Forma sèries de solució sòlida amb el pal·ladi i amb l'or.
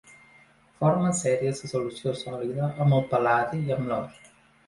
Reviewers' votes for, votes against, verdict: 2, 0, accepted